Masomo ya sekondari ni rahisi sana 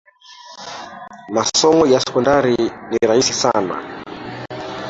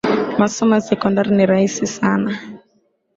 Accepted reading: second